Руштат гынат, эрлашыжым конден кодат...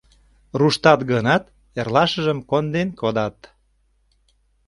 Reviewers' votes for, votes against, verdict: 2, 0, accepted